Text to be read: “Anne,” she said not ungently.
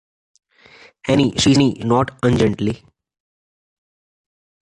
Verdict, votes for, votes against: rejected, 1, 2